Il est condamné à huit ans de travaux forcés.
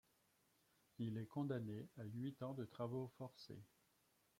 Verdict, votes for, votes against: rejected, 1, 2